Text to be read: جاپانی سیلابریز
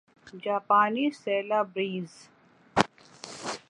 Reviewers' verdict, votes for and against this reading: rejected, 1, 2